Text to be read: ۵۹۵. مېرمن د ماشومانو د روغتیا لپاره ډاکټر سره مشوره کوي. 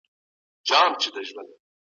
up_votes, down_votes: 0, 2